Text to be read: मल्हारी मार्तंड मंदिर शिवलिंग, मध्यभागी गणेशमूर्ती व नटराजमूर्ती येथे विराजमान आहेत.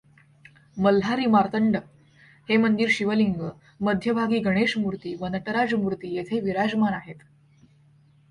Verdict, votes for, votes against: rejected, 0, 2